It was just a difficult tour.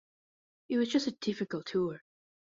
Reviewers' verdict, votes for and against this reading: accepted, 2, 0